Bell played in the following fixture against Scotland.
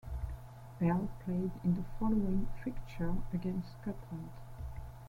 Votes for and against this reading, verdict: 2, 1, accepted